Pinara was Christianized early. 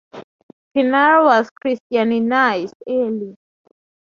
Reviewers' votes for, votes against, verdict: 0, 4, rejected